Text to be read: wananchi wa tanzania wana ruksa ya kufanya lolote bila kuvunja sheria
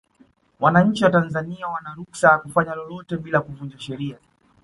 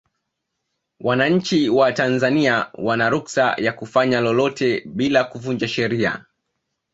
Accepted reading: second